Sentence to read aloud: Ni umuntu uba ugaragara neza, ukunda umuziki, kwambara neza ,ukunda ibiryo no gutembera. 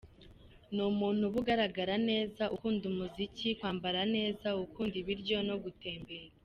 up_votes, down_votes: 1, 2